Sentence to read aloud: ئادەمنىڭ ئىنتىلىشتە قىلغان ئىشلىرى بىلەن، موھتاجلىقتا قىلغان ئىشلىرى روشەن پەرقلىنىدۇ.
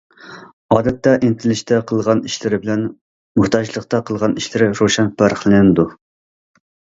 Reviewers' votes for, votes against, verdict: 0, 2, rejected